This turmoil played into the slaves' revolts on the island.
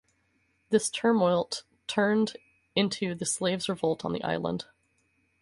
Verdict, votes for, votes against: rejected, 0, 2